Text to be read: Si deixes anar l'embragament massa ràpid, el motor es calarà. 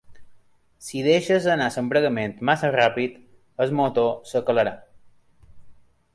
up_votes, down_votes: 0, 2